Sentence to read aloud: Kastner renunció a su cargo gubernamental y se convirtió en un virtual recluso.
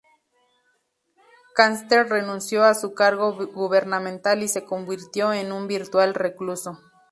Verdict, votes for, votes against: rejected, 0, 2